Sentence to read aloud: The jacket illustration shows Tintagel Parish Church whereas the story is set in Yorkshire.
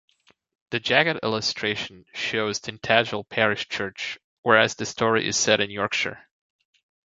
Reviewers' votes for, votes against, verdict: 2, 1, accepted